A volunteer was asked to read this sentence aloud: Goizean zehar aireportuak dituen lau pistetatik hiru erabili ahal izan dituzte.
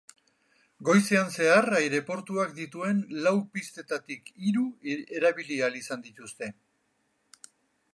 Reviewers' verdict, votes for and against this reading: rejected, 2, 2